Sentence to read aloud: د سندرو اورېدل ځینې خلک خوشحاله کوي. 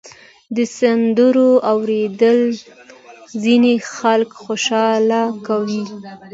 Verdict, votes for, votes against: accepted, 2, 0